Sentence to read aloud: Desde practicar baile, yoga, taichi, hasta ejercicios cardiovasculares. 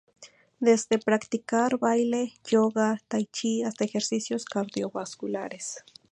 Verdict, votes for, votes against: rejected, 0, 2